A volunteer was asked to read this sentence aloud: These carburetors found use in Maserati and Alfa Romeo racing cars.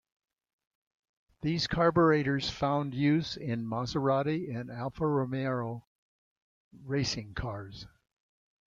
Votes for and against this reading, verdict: 2, 0, accepted